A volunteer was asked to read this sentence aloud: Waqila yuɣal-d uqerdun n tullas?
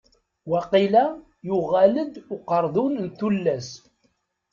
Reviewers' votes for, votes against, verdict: 2, 0, accepted